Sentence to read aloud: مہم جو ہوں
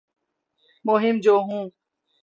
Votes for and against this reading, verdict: 0, 3, rejected